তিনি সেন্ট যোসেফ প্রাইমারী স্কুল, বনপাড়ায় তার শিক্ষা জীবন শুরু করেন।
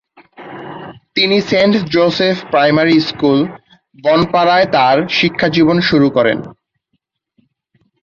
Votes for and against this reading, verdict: 3, 6, rejected